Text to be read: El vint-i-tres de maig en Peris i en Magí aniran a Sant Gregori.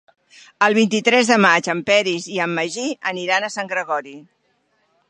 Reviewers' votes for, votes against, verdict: 3, 0, accepted